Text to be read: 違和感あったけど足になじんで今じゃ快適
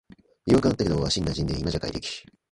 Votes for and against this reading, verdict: 1, 2, rejected